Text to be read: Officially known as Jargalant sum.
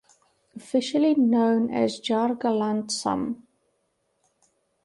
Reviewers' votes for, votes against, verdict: 2, 0, accepted